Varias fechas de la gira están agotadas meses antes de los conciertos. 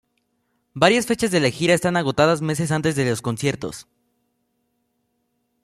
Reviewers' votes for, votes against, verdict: 2, 0, accepted